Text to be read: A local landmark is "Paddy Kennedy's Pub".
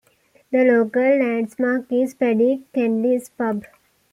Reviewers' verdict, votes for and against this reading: rejected, 1, 2